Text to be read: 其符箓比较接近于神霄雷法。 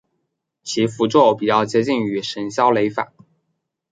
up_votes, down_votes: 5, 1